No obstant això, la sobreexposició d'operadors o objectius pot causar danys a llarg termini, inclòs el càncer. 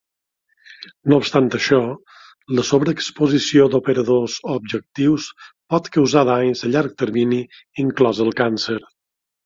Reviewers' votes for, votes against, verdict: 3, 0, accepted